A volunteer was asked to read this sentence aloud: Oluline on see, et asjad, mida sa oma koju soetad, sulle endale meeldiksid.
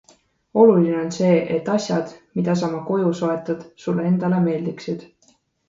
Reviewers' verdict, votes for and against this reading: accepted, 2, 0